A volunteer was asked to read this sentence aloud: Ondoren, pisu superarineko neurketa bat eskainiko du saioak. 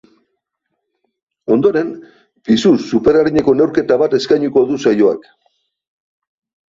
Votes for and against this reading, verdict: 3, 0, accepted